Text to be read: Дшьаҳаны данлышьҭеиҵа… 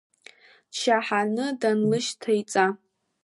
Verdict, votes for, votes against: rejected, 0, 2